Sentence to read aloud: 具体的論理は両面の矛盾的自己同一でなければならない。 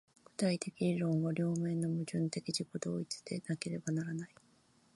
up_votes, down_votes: 0, 2